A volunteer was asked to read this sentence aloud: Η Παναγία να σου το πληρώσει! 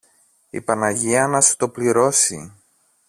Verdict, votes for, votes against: rejected, 1, 2